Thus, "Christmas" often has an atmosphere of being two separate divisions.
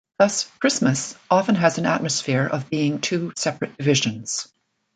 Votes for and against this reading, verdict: 1, 2, rejected